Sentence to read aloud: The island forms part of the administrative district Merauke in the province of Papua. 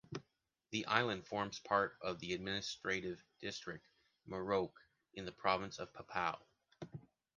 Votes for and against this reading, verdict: 2, 0, accepted